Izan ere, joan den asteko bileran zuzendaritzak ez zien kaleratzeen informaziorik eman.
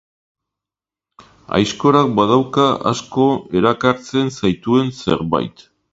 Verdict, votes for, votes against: rejected, 0, 2